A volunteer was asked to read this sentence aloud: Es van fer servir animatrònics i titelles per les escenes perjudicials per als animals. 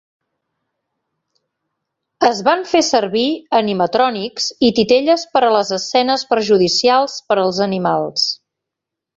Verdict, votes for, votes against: accepted, 2, 0